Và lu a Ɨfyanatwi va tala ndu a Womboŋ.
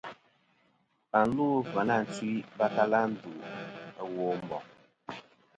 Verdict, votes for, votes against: accepted, 2, 0